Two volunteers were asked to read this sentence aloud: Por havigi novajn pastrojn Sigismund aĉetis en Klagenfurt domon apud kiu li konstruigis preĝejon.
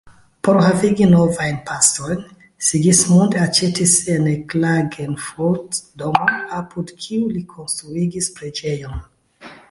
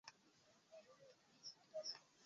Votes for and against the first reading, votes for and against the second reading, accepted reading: 2, 1, 0, 2, first